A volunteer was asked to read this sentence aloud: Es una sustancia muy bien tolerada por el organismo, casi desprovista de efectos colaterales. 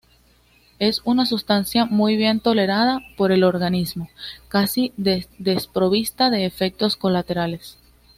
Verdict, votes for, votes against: accepted, 2, 0